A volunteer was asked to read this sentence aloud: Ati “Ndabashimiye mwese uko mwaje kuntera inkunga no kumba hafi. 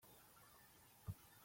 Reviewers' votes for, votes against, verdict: 0, 4, rejected